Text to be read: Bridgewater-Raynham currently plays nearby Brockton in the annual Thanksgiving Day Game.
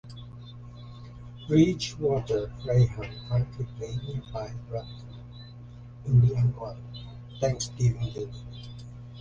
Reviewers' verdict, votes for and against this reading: rejected, 1, 2